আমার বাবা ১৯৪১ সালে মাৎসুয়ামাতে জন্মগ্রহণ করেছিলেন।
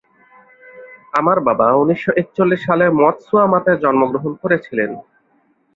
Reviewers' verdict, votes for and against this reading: rejected, 0, 2